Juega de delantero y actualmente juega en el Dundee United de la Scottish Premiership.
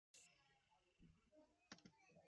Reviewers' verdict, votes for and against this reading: rejected, 0, 2